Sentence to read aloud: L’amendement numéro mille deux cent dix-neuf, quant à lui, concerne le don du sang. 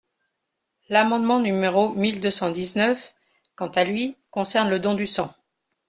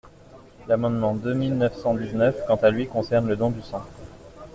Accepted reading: first